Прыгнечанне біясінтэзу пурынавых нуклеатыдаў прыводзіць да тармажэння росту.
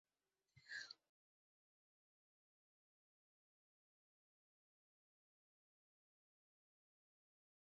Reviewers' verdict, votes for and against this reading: rejected, 0, 2